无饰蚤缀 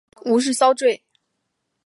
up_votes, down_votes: 3, 1